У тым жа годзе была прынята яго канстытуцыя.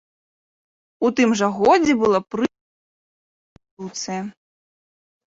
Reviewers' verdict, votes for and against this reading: rejected, 0, 2